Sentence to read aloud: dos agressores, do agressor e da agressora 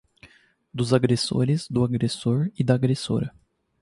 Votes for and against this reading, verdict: 2, 0, accepted